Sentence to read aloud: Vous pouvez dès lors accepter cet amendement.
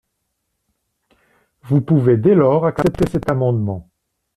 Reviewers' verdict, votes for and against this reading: rejected, 0, 2